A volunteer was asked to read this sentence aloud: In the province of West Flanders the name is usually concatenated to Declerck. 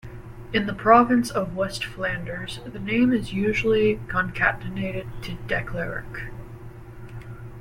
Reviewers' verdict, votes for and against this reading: accepted, 2, 0